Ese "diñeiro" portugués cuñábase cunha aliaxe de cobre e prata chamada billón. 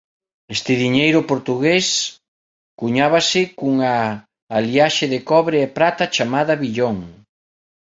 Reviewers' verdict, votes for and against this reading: rejected, 0, 2